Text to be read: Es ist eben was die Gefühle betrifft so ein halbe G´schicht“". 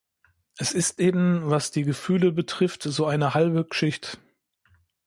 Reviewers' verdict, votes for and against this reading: rejected, 0, 2